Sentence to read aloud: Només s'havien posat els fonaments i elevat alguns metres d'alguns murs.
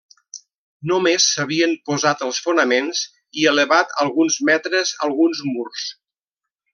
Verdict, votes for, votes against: rejected, 0, 2